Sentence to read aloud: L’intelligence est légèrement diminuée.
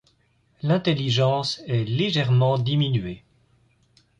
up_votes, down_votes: 2, 0